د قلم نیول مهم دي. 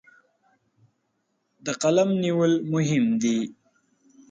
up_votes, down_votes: 3, 0